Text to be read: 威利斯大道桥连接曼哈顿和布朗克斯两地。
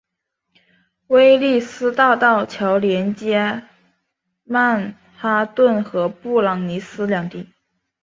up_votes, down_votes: 2, 1